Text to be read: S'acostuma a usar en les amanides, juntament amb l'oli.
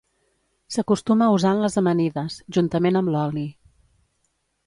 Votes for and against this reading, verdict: 2, 0, accepted